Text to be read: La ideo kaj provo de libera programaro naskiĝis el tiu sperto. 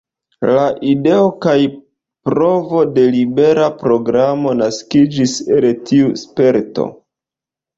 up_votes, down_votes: 0, 2